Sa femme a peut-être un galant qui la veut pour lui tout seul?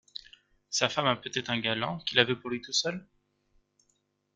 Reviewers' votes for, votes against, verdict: 2, 0, accepted